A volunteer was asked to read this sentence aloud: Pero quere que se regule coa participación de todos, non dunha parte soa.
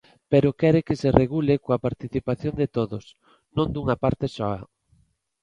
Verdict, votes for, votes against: accepted, 3, 0